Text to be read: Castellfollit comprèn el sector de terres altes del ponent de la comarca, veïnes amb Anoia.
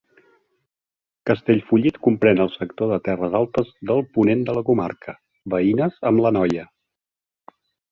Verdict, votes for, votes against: rejected, 1, 2